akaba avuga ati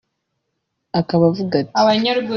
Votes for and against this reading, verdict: 2, 0, accepted